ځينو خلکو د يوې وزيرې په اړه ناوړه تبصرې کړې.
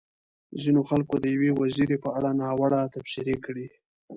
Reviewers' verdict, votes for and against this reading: accepted, 2, 0